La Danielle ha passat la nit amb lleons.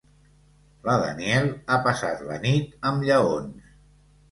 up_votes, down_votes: 2, 1